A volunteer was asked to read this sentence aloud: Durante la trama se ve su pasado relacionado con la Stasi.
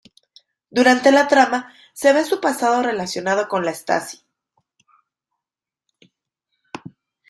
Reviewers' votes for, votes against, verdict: 2, 0, accepted